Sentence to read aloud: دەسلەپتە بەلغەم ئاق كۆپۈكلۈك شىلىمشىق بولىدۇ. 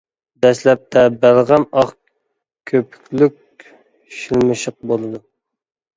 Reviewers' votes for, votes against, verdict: 1, 2, rejected